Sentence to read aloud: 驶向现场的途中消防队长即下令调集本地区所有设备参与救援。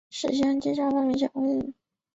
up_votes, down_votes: 1, 2